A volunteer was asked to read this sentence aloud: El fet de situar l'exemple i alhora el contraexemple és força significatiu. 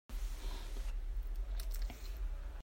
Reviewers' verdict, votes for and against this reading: rejected, 0, 2